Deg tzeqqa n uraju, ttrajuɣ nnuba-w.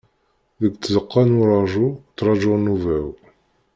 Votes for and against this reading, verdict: 2, 0, accepted